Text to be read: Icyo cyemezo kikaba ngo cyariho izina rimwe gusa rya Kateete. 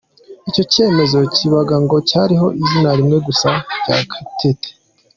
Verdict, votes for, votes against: accepted, 2, 0